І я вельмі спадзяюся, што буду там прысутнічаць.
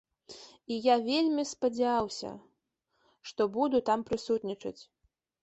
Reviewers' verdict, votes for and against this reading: rejected, 0, 2